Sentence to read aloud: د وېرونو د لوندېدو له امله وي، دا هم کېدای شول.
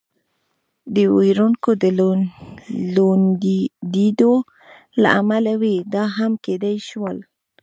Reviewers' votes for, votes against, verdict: 3, 0, accepted